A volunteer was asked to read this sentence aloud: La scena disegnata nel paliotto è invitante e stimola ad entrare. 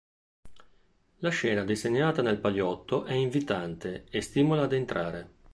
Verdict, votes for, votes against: accepted, 2, 0